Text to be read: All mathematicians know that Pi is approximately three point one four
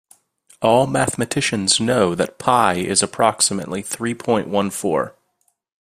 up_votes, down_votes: 2, 0